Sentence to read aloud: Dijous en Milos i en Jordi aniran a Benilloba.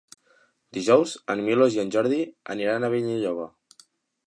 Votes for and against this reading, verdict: 2, 0, accepted